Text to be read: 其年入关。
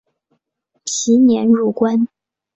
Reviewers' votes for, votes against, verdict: 2, 0, accepted